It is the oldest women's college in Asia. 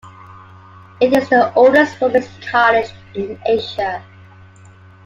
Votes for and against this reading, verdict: 2, 0, accepted